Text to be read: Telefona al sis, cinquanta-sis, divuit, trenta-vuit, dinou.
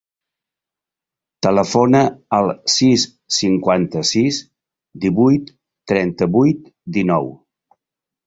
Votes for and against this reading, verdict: 2, 0, accepted